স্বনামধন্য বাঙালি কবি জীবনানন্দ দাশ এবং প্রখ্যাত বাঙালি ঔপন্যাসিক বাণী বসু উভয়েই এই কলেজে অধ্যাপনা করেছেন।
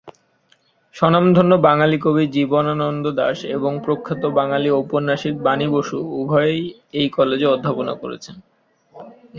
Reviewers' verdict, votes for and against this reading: accepted, 2, 0